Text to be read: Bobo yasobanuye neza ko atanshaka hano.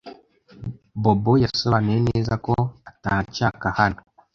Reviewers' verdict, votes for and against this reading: accepted, 2, 0